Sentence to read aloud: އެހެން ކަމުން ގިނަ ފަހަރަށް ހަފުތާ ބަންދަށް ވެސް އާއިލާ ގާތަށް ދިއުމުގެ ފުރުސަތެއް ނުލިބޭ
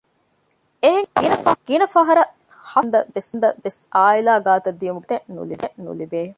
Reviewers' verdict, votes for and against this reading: rejected, 0, 2